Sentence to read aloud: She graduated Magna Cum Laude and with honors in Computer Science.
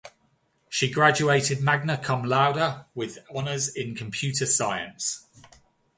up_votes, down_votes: 2, 1